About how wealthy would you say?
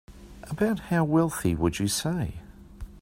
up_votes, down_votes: 4, 0